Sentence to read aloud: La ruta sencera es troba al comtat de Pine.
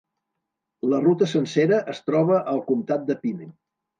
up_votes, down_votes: 3, 0